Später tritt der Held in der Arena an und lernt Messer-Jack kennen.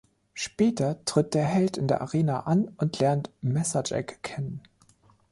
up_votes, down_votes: 3, 0